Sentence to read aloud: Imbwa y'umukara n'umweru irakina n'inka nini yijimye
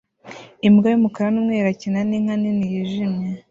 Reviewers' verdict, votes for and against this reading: rejected, 1, 2